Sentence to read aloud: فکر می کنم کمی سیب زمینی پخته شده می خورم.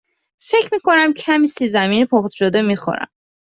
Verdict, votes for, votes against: accepted, 2, 0